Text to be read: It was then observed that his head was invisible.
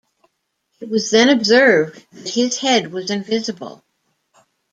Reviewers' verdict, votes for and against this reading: accepted, 2, 0